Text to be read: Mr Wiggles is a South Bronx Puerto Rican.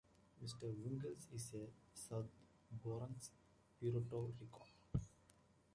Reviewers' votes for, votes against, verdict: 1, 2, rejected